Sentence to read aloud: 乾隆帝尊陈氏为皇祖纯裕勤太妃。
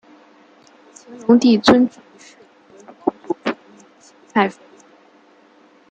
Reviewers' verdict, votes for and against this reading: rejected, 0, 2